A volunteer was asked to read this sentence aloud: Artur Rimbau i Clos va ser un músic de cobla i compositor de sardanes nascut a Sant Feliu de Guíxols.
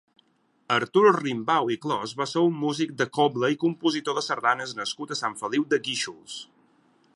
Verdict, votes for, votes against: accepted, 6, 0